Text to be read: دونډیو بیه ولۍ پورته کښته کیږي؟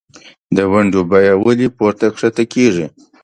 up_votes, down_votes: 2, 0